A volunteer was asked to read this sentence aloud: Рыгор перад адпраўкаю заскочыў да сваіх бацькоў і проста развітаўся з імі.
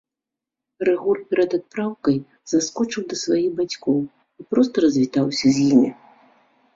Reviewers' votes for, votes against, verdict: 0, 2, rejected